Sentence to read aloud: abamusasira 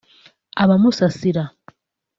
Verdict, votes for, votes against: accepted, 3, 0